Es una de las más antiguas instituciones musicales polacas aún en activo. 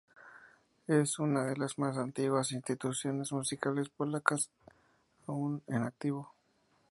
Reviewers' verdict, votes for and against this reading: rejected, 0, 2